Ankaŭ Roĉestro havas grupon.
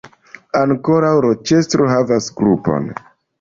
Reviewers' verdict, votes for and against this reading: rejected, 1, 2